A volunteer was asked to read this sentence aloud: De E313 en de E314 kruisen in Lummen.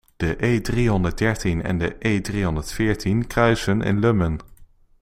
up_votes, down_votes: 0, 2